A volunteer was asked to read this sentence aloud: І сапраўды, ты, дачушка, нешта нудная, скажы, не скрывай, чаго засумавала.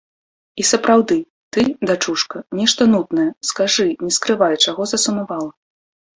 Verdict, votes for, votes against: accepted, 3, 0